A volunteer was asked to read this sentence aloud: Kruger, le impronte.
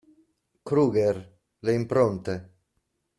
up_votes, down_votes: 2, 0